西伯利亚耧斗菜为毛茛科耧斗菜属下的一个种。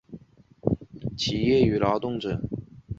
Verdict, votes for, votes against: rejected, 0, 4